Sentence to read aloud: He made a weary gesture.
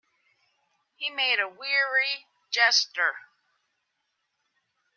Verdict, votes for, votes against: accepted, 2, 0